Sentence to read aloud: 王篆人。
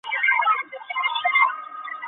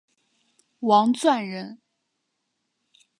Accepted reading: second